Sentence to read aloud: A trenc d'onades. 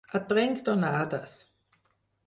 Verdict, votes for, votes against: accepted, 4, 0